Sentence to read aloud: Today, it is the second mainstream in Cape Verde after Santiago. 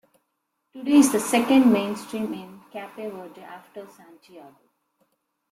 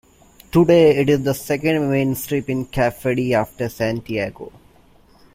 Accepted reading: second